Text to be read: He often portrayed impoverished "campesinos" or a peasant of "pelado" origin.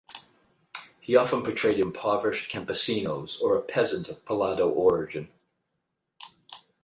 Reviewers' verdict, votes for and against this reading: rejected, 4, 4